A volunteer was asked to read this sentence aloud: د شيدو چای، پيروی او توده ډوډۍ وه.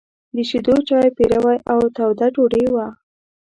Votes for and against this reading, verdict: 0, 2, rejected